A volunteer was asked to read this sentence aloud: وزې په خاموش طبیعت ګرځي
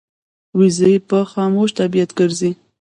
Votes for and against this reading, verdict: 0, 2, rejected